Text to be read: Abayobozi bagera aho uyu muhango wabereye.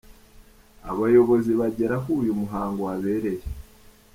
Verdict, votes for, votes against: accepted, 2, 0